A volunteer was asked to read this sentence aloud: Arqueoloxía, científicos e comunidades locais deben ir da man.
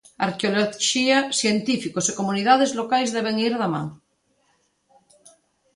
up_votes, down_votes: 1, 2